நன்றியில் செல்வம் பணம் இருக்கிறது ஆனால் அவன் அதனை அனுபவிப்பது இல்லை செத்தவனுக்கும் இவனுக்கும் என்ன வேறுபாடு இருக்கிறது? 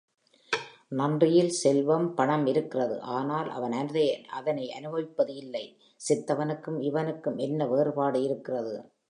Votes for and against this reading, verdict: 3, 2, accepted